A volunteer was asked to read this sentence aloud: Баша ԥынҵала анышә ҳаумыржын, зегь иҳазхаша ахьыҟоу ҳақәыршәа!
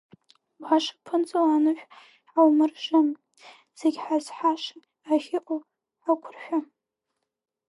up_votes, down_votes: 1, 2